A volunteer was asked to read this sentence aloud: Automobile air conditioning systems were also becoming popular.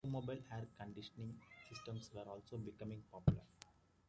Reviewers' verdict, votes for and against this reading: accepted, 2, 1